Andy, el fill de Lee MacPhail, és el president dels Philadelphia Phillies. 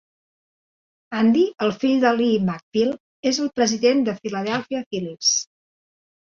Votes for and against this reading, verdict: 2, 0, accepted